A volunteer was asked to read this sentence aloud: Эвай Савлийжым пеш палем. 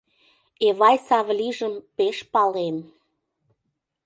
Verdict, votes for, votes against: accepted, 2, 0